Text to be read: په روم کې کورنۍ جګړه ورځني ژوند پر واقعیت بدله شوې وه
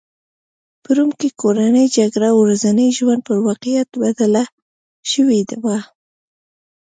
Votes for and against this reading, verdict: 1, 2, rejected